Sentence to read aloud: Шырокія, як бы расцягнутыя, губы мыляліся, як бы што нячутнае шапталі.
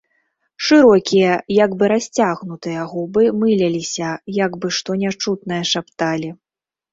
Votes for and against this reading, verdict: 1, 2, rejected